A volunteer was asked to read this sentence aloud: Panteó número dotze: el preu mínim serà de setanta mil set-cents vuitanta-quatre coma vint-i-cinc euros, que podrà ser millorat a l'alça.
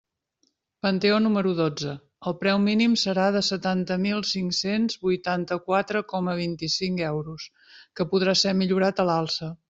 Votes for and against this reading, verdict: 0, 2, rejected